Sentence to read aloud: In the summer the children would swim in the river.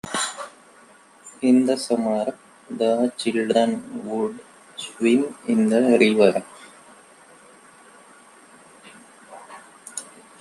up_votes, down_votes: 2, 0